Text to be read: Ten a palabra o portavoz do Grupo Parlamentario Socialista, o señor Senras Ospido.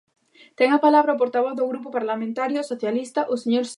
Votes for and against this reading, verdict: 0, 2, rejected